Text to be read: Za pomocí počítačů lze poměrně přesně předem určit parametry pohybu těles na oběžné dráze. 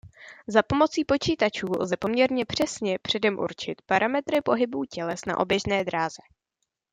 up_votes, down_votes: 2, 0